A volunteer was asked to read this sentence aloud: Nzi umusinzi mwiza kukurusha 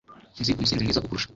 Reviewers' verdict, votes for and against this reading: rejected, 1, 3